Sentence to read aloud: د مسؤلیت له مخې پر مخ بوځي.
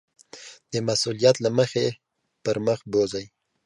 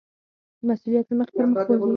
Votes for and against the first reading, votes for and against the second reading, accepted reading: 2, 0, 2, 4, first